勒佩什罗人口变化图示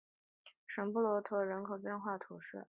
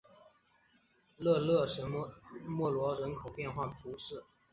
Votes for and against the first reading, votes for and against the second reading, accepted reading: 3, 2, 0, 2, first